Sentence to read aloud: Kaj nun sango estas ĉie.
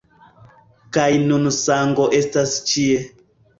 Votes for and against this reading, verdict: 1, 2, rejected